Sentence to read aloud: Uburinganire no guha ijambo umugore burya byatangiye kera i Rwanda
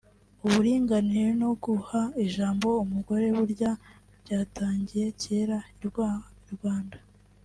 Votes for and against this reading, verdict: 1, 2, rejected